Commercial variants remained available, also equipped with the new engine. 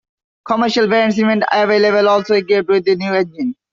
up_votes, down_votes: 1, 2